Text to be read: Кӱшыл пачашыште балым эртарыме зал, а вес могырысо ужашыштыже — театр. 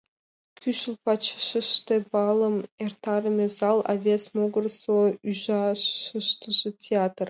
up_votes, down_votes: 2, 0